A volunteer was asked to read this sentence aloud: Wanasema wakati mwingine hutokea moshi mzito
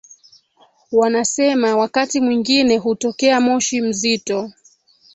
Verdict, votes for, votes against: accepted, 2, 1